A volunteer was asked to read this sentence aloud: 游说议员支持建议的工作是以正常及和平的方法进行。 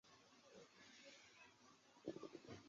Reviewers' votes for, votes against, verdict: 0, 3, rejected